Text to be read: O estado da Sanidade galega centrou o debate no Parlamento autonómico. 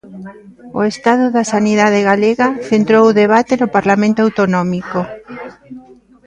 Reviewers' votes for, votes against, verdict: 0, 2, rejected